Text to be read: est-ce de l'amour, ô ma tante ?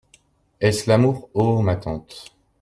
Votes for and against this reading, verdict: 0, 2, rejected